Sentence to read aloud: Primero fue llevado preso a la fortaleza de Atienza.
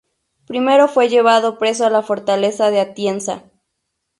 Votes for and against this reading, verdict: 0, 2, rejected